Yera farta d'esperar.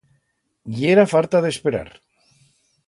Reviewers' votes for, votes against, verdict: 2, 0, accepted